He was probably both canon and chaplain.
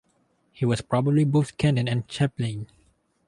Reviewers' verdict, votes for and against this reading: accepted, 2, 0